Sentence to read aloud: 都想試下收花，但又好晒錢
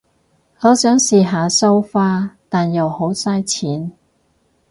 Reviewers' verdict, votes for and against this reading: rejected, 0, 4